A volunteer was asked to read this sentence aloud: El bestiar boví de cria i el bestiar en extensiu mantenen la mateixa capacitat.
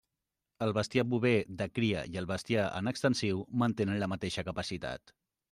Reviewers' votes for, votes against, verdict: 1, 2, rejected